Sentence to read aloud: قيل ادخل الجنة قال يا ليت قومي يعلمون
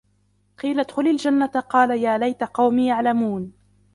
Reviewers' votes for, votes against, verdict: 0, 2, rejected